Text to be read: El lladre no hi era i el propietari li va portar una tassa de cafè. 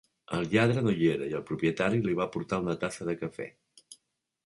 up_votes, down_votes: 3, 0